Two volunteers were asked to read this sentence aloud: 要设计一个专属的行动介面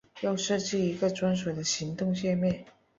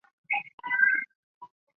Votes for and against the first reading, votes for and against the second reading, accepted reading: 2, 0, 1, 2, first